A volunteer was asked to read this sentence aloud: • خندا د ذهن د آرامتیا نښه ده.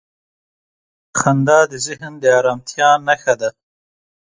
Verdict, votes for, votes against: accepted, 2, 0